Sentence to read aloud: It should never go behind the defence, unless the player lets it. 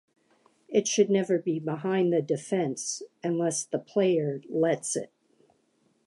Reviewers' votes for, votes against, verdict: 1, 3, rejected